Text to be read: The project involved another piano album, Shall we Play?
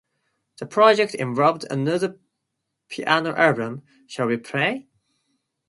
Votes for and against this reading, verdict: 2, 0, accepted